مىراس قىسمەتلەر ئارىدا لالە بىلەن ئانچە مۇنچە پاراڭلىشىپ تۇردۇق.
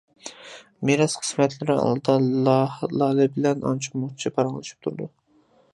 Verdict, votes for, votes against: rejected, 1, 2